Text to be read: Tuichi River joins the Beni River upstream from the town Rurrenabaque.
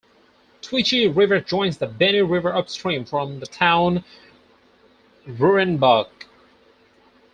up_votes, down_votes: 2, 4